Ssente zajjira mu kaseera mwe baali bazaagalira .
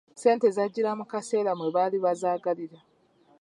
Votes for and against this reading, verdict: 3, 0, accepted